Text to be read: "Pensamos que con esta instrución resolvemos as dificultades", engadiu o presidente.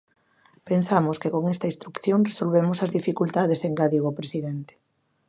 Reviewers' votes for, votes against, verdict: 0, 2, rejected